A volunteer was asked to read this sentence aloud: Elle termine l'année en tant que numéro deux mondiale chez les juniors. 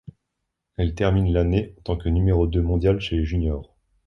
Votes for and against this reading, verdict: 2, 0, accepted